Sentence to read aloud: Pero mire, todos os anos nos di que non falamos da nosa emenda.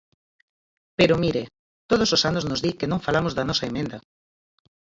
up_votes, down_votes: 0, 4